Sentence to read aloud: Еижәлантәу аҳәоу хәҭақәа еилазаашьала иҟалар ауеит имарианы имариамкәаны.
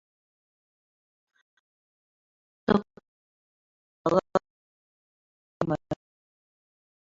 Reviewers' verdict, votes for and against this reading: rejected, 1, 2